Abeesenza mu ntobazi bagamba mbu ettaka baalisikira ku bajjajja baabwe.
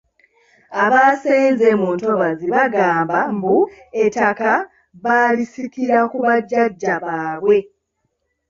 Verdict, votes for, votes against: rejected, 1, 3